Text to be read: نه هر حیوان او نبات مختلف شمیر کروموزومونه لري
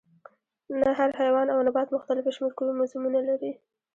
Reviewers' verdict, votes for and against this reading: accepted, 2, 0